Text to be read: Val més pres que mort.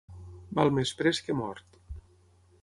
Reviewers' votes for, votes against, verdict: 6, 0, accepted